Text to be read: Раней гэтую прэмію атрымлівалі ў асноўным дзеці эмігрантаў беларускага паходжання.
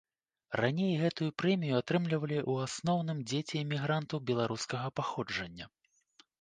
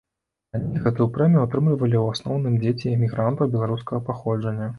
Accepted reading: first